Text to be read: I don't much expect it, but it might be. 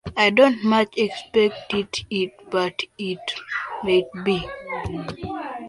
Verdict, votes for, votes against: rejected, 1, 2